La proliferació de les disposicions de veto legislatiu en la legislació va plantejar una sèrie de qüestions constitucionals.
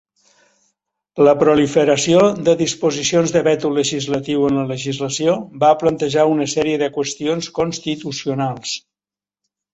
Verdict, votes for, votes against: rejected, 0, 3